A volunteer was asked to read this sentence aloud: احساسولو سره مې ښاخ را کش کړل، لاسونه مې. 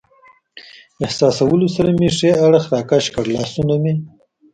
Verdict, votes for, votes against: rejected, 1, 2